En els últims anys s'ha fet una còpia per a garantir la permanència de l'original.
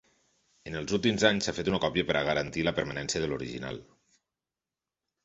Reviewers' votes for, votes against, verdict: 4, 0, accepted